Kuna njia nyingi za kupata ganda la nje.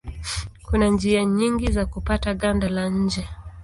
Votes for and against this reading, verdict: 2, 0, accepted